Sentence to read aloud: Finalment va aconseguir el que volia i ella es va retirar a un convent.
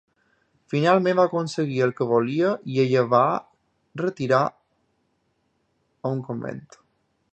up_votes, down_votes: 1, 2